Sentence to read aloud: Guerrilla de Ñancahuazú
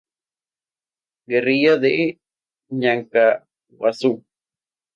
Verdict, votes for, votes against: rejected, 2, 2